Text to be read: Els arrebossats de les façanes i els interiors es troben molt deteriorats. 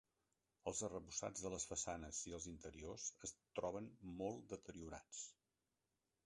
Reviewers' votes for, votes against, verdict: 1, 2, rejected